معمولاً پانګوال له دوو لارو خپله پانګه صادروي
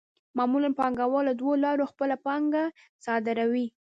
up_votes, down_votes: 0, 2